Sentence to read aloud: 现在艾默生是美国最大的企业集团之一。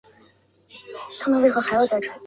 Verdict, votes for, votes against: rejected, 0, 2